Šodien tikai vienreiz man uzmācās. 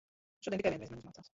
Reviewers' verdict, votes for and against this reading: rejected, 0, 3